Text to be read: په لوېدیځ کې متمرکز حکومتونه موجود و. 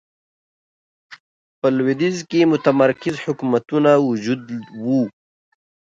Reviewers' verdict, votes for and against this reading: accepted, 2, 1